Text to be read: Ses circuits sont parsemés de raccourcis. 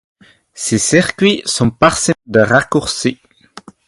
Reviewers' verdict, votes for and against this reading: accepted, 4, 2